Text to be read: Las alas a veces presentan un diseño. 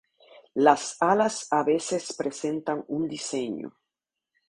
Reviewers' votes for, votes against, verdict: 2, 0, accepted